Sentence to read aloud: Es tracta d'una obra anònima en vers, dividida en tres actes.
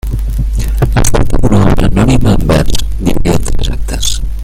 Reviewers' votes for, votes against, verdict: 1, 3, rejected